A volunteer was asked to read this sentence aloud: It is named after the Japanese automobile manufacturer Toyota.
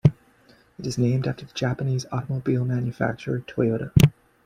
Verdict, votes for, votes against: accepted, 2, 0